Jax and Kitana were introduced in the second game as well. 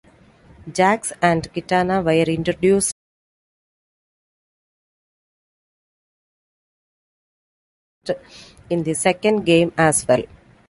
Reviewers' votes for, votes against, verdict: 0, 2, rejected